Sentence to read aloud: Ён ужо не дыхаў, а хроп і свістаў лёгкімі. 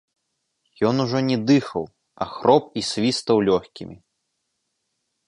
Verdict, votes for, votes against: rejected, 0, 2